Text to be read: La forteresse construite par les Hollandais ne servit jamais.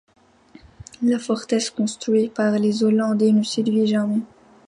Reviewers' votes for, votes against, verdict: 0, 2, rejected